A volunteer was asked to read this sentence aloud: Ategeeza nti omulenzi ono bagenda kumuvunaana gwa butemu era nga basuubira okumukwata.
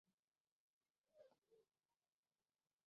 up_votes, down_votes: 0, 2